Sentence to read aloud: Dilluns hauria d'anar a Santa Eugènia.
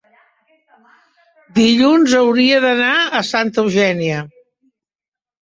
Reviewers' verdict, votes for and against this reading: accepted, 3, 0